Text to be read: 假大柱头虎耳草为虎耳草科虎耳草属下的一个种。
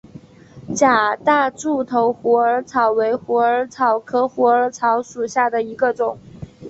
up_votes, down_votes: 7, 0